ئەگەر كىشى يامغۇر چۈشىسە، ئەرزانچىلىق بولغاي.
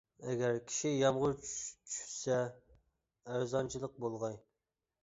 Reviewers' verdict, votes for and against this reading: rejected, 1, 2